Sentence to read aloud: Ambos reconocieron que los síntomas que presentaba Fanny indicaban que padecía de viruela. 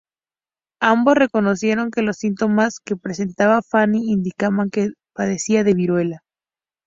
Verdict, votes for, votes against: rejected, 0, 2